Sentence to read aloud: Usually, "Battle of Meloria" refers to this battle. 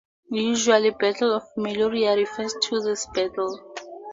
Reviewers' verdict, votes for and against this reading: accepted, 4, 0